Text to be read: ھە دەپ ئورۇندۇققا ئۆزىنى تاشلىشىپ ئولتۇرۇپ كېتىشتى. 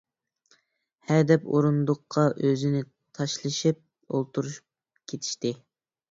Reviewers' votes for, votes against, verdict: 0, 2, rejected